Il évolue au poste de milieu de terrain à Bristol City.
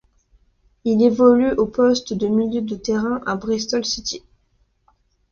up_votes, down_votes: 2, 0